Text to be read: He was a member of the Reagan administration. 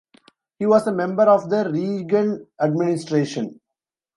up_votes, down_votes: 0, 2